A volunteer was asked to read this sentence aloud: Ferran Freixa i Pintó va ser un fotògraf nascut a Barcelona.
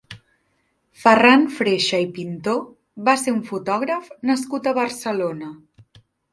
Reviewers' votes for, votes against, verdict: 3, 0, accepted